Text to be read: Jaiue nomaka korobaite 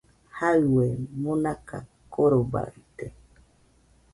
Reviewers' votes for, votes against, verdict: 2, 0, accepted